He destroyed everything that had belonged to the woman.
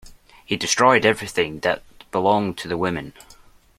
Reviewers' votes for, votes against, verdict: 0, 2, rejected